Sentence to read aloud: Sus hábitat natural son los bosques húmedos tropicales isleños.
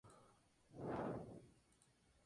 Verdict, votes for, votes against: rejected, 0, 2